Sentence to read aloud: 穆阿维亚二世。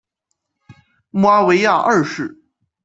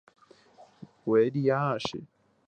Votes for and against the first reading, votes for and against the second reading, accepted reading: 2, 0, 3, 4, first